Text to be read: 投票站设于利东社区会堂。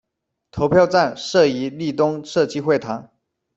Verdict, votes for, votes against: accepted, 2, 1